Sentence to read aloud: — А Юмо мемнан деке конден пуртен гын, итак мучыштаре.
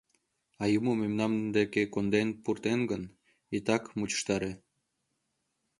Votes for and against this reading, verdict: 0, 2, rejected